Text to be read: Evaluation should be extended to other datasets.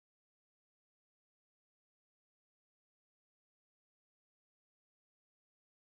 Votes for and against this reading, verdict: 0, 2, rejected